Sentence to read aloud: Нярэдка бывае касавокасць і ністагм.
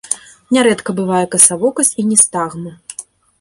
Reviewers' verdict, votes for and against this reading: accepted, 2, 0